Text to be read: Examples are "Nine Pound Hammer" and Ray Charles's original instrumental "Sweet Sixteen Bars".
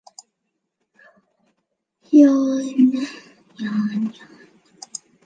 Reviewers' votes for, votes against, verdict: 0, 2, rejected